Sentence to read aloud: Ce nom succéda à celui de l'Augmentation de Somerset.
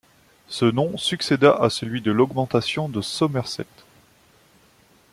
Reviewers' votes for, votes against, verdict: 0, 2, rejected